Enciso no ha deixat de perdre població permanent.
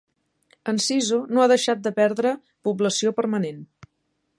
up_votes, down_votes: 2, 0